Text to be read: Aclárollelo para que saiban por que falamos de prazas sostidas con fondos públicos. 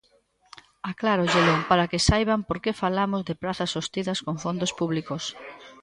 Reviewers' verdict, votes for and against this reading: accepted, 2, 0